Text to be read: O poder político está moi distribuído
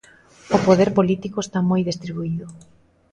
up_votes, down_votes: 2, 0